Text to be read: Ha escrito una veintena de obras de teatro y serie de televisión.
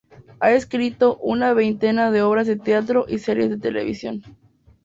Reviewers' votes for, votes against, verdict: 4, 0, accepted